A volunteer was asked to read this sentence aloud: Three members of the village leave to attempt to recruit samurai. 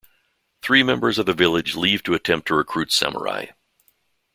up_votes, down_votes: 2, 0